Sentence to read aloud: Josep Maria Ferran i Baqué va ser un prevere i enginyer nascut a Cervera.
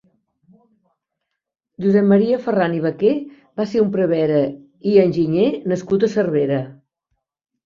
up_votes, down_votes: 4, 0